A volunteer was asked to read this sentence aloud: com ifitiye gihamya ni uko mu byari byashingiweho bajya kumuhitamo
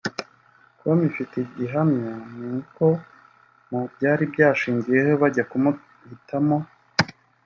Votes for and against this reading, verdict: 1, 2, rejected